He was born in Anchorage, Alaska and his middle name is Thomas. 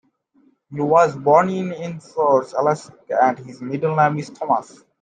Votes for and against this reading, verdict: 0, 2, rejected